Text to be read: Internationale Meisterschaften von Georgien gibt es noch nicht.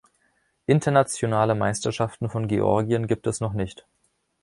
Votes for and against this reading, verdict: 2, 0, accepted